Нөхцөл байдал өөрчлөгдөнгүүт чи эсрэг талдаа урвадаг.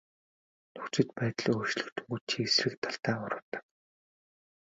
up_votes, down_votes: 2, 0